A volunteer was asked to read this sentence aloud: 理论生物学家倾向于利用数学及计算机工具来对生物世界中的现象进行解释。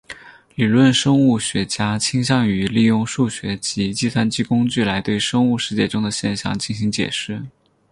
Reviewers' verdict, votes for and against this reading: accepted, 4, 0